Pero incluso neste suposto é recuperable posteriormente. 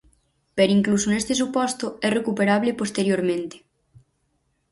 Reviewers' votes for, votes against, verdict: 4, 0, accepted